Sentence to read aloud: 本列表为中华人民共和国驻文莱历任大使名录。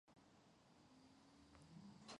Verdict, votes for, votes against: rejected, 0, 2